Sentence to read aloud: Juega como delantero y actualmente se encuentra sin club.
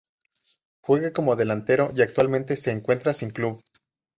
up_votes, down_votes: 2, 0